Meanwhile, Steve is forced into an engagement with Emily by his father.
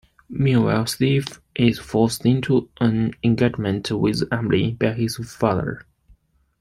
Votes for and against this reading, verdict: 1, 3, rejected